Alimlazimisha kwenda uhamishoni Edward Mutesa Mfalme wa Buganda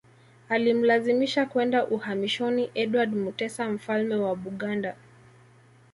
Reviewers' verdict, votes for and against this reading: rejected, 1, 2